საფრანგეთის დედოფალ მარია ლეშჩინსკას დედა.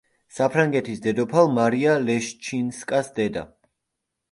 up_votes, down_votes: 2, 0